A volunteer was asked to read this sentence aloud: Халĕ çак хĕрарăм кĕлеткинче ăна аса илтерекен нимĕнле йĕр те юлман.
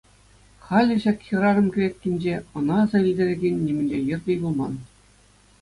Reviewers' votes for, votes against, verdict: 2, 0, accepted